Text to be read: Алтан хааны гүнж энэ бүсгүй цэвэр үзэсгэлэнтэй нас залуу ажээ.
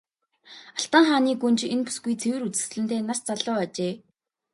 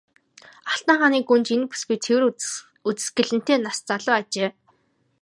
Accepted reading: first